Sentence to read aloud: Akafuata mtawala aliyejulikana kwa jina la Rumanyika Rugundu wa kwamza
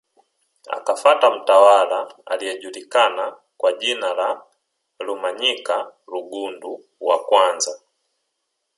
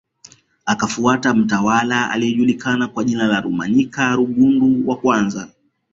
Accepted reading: second